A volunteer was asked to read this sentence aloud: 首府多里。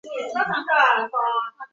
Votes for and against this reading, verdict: 2, 3, rejected